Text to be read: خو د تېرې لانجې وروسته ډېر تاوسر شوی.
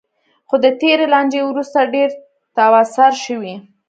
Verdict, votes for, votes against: accepted, 2, 0